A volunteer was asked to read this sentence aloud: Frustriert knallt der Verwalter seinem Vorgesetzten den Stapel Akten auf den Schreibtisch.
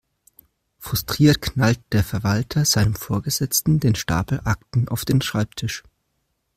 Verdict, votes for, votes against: accepted, 2, 0